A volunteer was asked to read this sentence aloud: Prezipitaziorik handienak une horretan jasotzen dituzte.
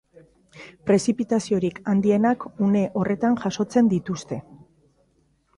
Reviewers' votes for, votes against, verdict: 2, 0, accepted